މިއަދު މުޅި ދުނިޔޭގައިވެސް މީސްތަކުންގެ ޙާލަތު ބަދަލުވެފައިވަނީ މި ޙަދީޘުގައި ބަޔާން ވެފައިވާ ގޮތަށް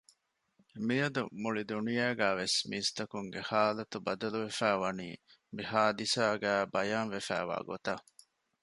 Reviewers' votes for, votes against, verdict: 0, 2, rejected